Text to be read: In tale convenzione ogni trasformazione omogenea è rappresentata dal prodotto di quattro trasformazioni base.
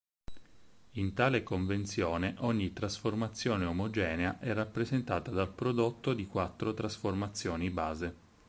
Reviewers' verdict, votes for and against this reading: accepted, 4, 0